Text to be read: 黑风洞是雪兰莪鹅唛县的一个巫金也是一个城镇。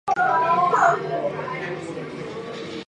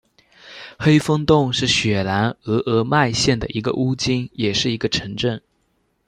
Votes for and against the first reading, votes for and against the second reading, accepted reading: 2, 3, 2, 1, second